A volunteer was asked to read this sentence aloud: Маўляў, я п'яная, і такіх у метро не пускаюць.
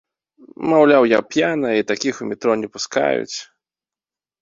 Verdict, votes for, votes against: accepted, 2, 0